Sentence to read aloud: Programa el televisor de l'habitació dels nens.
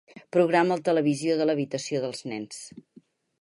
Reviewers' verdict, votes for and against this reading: rejected, 4, 6